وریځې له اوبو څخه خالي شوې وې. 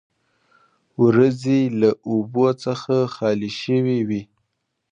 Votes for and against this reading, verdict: 2, 0, accepted